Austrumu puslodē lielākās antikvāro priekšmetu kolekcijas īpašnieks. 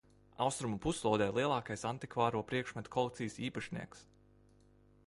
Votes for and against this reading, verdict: 2, 1, accepted